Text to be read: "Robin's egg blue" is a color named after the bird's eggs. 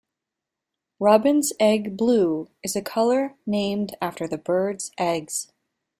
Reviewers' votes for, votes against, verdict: 2, 0, accepted